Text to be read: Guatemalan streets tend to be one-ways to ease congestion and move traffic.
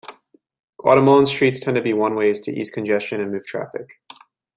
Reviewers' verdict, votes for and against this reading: accepted, 2, 0